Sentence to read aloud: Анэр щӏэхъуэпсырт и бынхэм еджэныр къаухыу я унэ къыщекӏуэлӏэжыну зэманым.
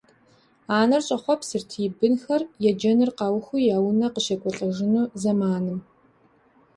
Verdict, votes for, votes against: accepted, 2, 0